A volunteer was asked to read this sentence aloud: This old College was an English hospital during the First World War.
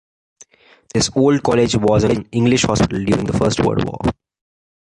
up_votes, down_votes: 2, 0